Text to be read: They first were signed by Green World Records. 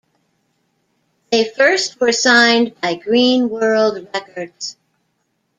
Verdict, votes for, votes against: accepted, 2, 0